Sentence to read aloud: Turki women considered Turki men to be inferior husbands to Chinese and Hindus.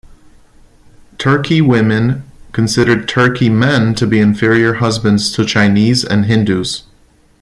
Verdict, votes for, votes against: accepted, 2, 0